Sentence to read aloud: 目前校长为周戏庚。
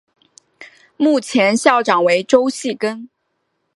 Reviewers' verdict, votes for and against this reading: accepted, 3, 0